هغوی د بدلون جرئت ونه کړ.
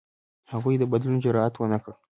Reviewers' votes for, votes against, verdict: 2, 0, accepted